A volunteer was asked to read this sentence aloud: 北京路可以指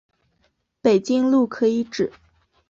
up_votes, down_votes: 2, 1